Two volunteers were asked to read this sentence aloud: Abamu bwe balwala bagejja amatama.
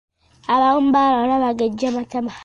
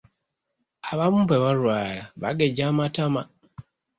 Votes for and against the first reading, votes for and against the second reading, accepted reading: 0, 2, 2, 0, second